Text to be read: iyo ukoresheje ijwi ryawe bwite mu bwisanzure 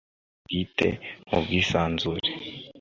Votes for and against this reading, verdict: 1, 2, rejected